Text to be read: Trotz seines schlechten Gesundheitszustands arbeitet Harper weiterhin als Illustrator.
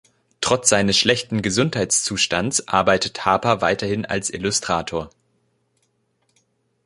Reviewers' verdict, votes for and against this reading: accepted, 2, 0